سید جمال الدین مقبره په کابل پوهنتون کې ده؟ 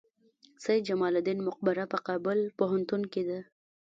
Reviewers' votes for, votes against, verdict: 1, 2, rejected